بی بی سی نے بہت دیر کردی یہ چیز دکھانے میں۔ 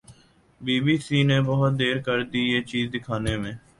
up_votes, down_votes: 2, 0